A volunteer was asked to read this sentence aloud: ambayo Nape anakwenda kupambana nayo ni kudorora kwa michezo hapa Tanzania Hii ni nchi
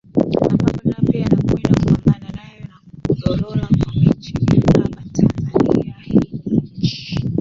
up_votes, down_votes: 0, 2